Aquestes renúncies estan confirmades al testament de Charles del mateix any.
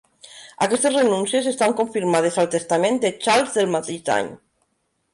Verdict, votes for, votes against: accepted, 3, 0